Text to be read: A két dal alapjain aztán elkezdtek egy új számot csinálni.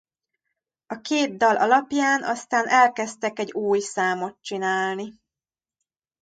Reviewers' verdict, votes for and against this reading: rejected, 1, 2